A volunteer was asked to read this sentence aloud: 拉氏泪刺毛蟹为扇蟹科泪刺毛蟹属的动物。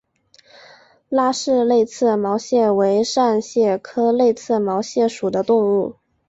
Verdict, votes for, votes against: accepted, 3, 0